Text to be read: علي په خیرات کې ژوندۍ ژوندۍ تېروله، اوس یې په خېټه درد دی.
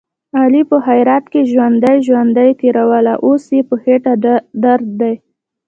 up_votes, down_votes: 1, 2